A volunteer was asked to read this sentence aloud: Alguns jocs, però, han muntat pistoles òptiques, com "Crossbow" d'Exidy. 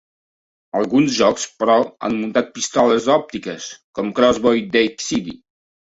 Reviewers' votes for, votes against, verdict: 2, 1, accepted